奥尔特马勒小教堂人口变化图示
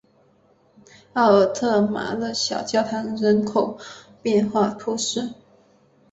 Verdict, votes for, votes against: accepted, 2, 0